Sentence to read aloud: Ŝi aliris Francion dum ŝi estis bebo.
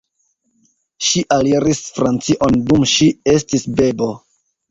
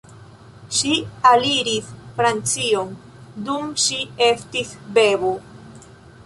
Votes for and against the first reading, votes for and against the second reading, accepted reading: 2, 1, 0, 2, first